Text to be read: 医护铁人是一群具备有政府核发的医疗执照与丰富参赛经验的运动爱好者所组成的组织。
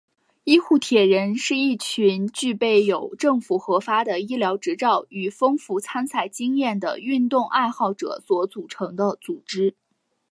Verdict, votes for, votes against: accepted, 4, 2